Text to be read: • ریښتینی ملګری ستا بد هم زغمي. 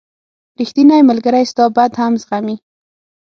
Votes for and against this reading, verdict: 6, 0, accepted